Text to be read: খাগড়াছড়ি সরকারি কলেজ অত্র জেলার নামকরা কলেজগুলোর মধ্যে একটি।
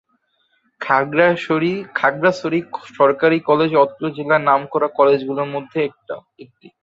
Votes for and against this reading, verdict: 0, 3, rejected